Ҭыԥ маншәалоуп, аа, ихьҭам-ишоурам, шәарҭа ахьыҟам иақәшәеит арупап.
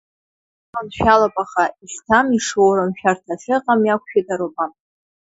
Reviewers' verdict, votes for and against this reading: accepted, 2, 1